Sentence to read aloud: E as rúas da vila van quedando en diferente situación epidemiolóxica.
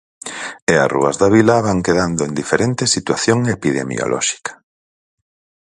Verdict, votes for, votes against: accepted, 4, 0